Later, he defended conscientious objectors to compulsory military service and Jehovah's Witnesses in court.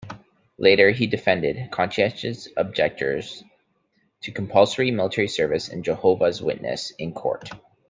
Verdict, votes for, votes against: accepted, 2, 1